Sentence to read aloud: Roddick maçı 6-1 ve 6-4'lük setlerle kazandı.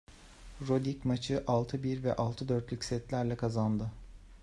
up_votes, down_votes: 0, 2